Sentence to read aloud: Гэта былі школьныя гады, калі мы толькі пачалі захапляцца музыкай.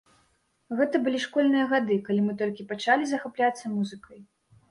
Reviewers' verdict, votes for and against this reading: rejected, 0, 2